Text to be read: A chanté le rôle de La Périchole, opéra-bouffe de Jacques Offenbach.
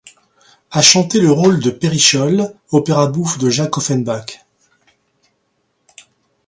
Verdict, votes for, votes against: rejected, 1, 2